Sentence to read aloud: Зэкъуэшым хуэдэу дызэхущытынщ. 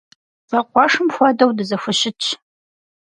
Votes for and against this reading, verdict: 2, 4, rejected